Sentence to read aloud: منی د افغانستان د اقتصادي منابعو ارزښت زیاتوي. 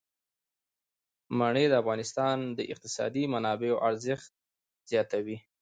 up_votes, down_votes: 2, 0